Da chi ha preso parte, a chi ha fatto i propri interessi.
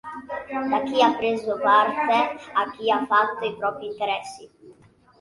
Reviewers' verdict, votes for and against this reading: rejected, 1, 2